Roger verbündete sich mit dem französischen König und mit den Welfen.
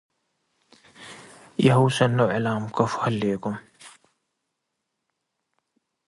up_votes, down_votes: 0, 2